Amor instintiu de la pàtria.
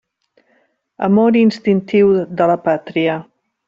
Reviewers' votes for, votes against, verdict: 3, 0, accepted